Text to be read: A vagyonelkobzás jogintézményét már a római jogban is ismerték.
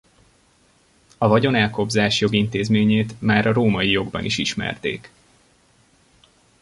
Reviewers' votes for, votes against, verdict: 0, 2, rejected